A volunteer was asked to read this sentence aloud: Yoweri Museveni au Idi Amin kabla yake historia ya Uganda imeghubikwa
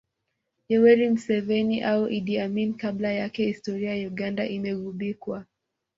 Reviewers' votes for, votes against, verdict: 2, 0, accepted